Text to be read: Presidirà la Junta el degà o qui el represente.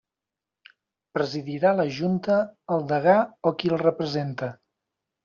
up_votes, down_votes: 1, 3